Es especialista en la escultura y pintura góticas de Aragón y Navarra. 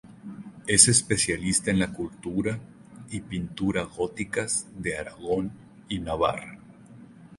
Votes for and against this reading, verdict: 0, 2, rejected